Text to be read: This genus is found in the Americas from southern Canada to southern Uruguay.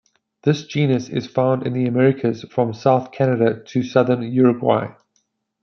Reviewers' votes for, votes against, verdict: 1, 2, rejected